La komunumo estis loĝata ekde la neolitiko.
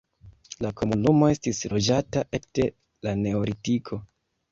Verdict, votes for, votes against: accepted, 2, 0